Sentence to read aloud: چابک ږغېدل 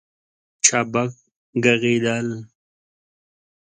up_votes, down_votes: 2, 0